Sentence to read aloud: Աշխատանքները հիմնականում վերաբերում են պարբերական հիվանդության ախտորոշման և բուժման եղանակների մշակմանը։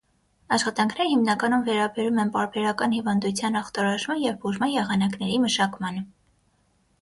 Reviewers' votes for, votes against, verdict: 6, 0, accepted